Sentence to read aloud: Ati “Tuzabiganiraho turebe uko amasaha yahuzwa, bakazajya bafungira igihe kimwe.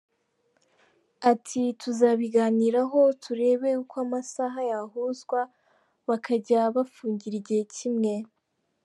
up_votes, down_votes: 1, 2